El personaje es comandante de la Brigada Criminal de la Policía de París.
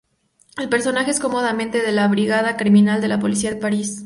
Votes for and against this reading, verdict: 2, 2, rejected